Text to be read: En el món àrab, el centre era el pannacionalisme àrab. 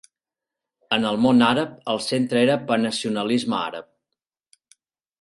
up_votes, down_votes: 2, 4